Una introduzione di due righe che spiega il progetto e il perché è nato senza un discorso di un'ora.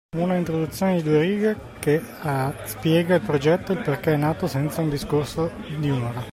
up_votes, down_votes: 2, 0